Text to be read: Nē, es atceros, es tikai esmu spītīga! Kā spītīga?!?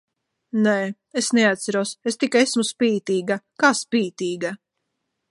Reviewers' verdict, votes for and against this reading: rejected, 0, 2